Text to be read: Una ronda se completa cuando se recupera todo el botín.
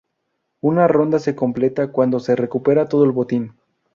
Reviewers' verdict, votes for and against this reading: accepted, 2, 0